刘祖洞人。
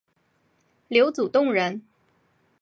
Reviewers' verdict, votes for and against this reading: accepted, 3, 0